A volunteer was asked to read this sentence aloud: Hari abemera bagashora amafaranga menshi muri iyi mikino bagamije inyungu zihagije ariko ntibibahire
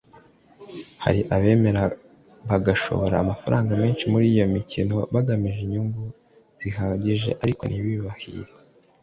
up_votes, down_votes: 2, 0